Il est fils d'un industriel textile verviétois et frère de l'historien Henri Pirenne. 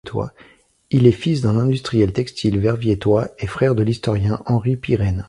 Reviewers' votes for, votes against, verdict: 1, 2, rejected